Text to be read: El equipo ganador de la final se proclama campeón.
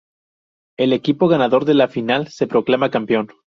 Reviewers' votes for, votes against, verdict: 2, 2, rejected